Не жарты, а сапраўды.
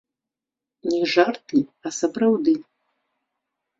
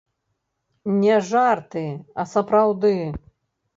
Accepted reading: first